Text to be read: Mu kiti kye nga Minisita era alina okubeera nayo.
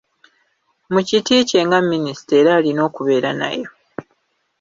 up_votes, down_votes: 2, 0